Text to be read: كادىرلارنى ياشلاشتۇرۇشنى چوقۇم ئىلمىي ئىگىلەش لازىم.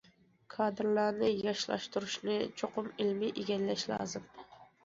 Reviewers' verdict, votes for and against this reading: accepted, 2, 1